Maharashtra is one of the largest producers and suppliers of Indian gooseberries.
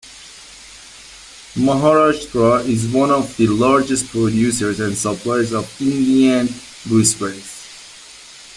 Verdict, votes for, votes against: accepted, 2, 0